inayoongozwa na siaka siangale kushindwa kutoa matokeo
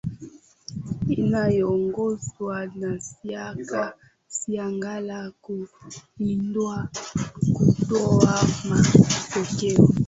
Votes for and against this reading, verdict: 0, 2, rejected